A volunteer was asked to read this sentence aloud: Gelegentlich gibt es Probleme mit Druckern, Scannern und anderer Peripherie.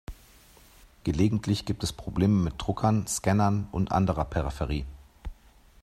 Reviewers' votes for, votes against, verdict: 2, 0, accepted